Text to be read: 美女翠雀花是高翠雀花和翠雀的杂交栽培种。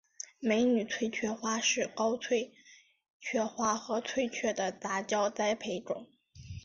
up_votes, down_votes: 3, 0